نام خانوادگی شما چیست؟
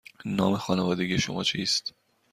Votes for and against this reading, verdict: 2, 0, accepted